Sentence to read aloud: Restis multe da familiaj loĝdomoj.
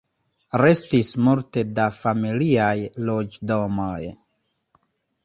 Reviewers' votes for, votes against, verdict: 2, 0, accepted